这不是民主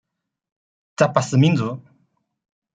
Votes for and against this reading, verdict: 1, 2, rejected